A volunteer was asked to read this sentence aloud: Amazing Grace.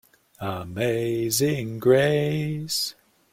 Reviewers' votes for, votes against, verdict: 0, 2, rejected